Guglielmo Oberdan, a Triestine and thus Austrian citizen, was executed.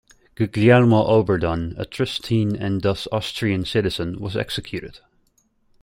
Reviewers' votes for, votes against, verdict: 2, 0, accepted